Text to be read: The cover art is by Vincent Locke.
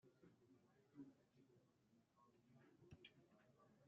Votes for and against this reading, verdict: 0, 2, rejected